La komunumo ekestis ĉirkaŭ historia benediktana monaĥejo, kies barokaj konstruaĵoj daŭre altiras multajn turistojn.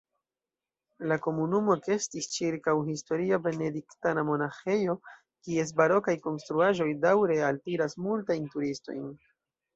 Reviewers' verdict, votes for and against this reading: accepted, 2, 0